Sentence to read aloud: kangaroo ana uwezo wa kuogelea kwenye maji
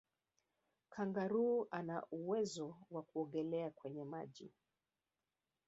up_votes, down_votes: 0, 4